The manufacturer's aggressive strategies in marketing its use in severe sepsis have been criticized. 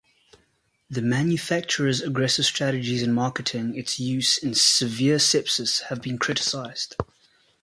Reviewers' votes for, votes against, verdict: 1, 2, rejected